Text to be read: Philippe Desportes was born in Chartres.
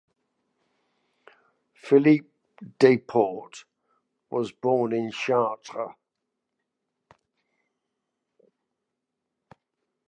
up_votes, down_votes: 1, 2